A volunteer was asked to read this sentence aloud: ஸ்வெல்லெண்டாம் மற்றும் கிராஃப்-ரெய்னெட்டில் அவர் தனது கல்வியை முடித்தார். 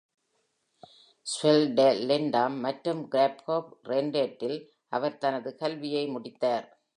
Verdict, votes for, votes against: accepted, 2, 1